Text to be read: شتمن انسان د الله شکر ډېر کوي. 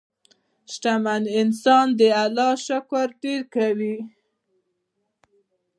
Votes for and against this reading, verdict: 1, 2, rejected